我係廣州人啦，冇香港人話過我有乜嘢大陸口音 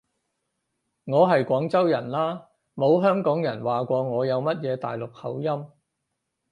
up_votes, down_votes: 4, 0